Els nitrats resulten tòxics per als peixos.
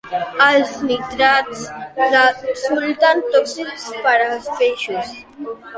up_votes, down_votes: 1, 2